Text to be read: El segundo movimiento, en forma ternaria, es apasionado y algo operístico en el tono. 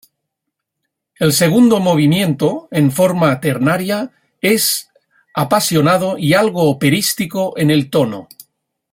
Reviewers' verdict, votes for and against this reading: accepted, 2, 0